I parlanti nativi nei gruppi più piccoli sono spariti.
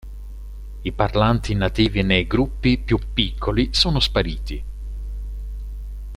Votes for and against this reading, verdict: 2, 0, accepted